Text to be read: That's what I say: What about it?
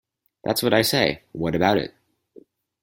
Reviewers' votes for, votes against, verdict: 4, 0, accepted